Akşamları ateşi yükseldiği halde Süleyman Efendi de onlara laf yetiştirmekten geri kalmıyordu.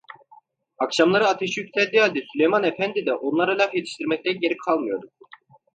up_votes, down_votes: 2, 0